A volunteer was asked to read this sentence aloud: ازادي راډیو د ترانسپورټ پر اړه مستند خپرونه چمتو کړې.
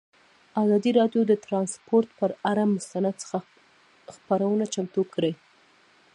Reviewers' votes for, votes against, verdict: 2, 1, accepted